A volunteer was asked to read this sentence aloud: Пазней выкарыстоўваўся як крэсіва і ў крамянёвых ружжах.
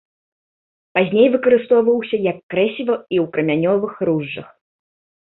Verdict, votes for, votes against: accepted, 2, 0